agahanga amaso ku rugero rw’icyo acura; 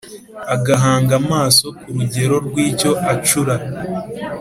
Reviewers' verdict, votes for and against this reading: accepted, 2, 0